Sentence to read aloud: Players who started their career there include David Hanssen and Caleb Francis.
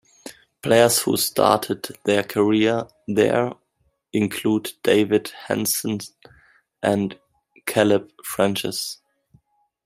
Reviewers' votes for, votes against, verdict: 1, 2, rejected